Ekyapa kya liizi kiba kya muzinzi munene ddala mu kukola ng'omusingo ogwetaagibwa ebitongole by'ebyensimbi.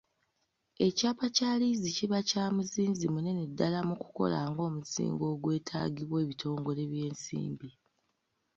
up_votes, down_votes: 2, 1